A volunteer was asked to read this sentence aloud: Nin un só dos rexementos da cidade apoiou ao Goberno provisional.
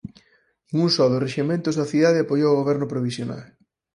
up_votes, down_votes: 2, 4